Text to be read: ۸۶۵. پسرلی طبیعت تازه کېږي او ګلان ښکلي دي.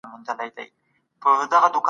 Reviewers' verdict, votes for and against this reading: rejected, 0, 2